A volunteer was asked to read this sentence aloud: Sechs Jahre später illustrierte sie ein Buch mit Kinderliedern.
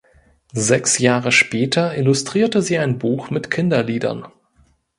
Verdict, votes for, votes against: accepted, 2, 0